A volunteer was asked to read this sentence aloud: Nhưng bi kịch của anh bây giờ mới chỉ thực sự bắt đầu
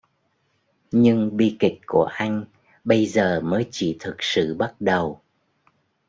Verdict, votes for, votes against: accepted, 2, 0